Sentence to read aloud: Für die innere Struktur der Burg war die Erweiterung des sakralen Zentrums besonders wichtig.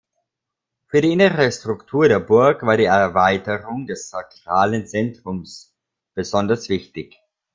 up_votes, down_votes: 0, 2